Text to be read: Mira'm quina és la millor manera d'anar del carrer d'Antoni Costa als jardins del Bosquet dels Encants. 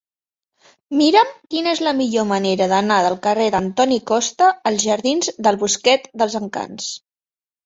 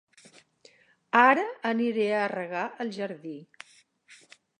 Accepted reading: first